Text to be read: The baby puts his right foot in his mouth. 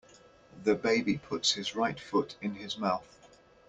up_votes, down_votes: 2, 0